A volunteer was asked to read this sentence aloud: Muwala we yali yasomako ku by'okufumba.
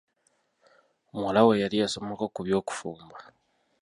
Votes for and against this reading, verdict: 2, 0, accepted